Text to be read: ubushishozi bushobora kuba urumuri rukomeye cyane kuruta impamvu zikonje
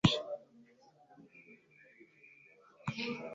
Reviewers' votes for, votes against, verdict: 0, 2, rejected